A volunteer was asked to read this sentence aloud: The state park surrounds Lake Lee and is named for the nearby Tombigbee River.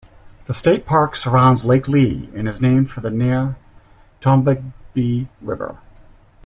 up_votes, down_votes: 0, 2